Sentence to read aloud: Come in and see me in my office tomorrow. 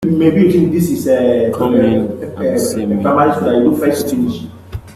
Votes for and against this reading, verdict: 0, 2, rejected